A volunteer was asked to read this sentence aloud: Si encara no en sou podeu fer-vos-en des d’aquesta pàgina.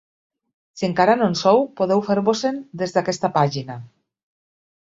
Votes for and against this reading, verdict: 2, 0, accepted